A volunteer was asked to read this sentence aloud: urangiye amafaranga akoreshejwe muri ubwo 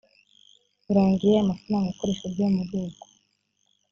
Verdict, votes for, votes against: accepted, 2, 0